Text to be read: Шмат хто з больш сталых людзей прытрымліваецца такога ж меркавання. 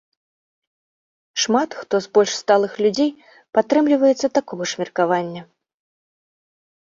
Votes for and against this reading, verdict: 1, 2, rejected